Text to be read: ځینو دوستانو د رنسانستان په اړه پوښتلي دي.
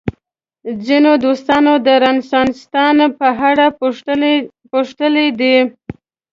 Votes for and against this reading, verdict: 3, 1, accepted